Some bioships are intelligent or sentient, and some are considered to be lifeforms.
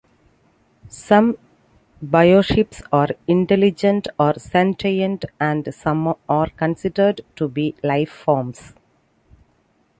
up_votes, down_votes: 2, 1